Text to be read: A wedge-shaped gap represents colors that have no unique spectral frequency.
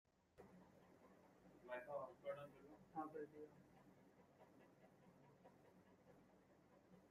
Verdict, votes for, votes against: rejected, 0, 2